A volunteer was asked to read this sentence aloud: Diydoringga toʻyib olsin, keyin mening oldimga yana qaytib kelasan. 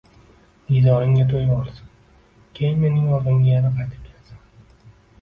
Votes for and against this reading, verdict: 1, 2, rejected